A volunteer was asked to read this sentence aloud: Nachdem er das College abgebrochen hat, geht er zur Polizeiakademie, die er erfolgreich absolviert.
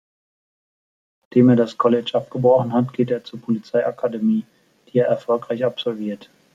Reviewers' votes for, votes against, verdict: 1, 2, rejected